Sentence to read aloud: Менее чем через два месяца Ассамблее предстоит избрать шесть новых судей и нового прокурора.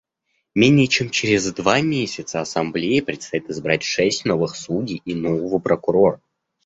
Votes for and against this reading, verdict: 2, 0, accepted